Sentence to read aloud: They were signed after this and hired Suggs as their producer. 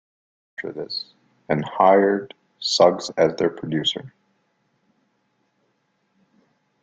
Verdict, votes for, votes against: rejected, 0, 2